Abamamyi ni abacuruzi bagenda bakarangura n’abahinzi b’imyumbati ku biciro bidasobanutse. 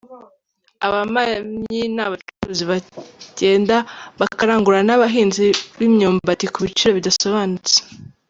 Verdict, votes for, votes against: accepted, 2, 0